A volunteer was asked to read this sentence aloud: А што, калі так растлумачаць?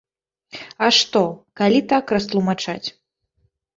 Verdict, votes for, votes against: rejected, 0, 2